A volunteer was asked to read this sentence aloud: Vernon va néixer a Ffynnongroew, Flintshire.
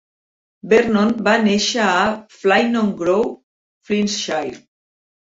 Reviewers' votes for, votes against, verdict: 2, 1, accepted